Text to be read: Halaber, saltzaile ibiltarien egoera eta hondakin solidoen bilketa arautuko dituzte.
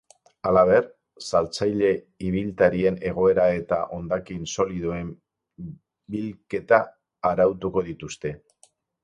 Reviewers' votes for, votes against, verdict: 6, 0, accepted